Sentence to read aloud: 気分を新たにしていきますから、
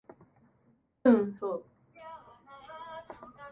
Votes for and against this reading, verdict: 0, 2, rejected